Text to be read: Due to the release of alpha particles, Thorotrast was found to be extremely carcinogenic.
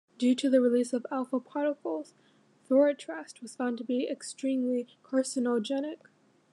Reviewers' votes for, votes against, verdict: 2, 0, accepted